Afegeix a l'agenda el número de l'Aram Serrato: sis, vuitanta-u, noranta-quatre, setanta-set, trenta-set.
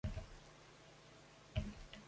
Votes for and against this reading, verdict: 0, 2, rejected